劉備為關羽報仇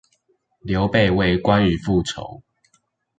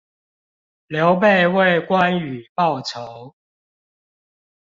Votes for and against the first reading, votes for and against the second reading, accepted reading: 1, 2, 2, 0, second